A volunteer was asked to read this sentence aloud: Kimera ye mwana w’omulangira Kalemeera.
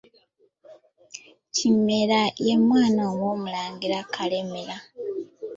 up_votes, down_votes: 2, 1